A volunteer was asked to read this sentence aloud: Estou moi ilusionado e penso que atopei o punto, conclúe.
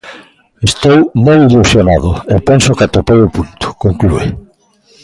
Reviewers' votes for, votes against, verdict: 2, 1, accepted